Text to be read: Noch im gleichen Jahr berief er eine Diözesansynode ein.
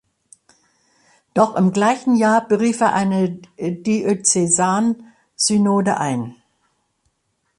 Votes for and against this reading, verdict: 1, 2, rejected